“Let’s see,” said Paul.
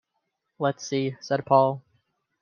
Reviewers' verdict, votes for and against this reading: accepted, 2, 0